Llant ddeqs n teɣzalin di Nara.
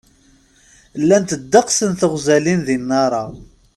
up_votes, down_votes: 2, 0